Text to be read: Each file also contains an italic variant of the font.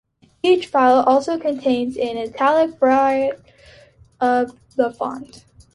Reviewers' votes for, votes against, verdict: 1, 3, rejected